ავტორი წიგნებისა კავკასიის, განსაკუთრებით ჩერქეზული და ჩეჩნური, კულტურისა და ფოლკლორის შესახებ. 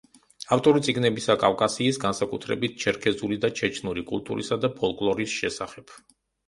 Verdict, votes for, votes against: accepted, 2, 0